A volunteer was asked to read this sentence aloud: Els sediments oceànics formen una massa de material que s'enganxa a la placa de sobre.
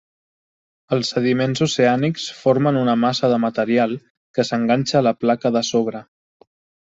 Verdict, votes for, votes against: accepted, 3, 0